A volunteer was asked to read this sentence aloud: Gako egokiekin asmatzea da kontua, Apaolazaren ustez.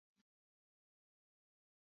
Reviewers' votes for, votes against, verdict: 0, 4, rejected